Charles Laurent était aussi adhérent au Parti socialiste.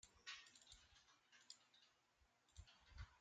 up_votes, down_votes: 0, 2